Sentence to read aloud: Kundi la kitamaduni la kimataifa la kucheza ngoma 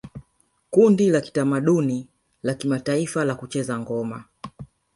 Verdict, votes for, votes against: rejected, 1, 2